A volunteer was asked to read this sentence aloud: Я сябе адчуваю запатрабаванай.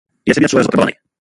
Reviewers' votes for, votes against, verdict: 0, 2, rejected